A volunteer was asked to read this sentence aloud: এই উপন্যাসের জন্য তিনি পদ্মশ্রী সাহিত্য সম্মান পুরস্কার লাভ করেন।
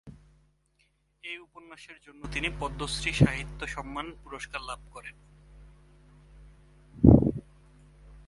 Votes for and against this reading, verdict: 4, 1, accepted